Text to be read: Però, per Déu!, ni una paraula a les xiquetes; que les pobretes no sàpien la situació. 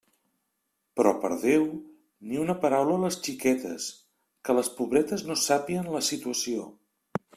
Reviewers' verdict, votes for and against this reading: accepted, 3, 0